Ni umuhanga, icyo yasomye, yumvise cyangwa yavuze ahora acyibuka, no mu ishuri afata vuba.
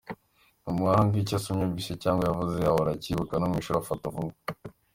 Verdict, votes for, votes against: accepted, 2, 0